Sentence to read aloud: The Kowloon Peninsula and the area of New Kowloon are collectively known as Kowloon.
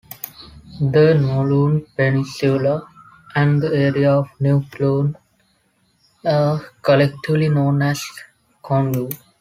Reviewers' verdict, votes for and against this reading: rejected, 0, 2